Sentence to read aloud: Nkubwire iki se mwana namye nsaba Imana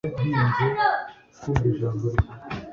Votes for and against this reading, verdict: 1, 2, rejected